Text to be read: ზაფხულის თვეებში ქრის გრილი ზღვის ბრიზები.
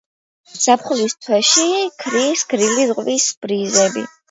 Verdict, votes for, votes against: accepted, 2, 0